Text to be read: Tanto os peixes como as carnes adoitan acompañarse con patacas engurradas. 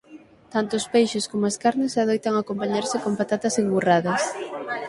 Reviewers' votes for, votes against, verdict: 6, 9, rejected